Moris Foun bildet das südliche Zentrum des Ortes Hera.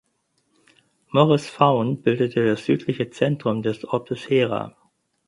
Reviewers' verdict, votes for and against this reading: rejected, 2, 4